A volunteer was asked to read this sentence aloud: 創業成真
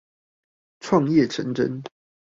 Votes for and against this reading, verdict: 2, 2, rejected